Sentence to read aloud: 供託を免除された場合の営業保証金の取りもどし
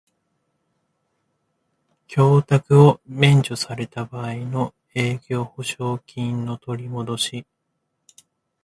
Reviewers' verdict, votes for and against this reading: rejected, 0, 2